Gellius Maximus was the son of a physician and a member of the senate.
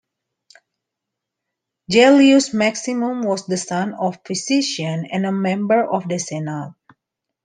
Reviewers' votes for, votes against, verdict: 0, 2, rejected